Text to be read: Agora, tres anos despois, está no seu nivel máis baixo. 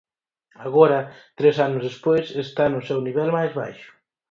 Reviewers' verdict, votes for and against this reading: accepted, 4, 0